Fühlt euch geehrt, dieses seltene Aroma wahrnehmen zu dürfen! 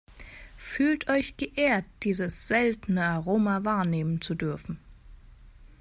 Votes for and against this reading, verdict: 2, 0, accepted